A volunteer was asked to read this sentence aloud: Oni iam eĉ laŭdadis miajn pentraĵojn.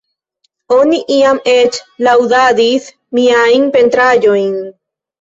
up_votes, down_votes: 2, 1